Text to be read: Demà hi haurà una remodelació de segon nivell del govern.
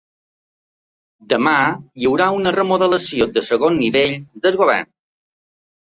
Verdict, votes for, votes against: rejected, 1, 2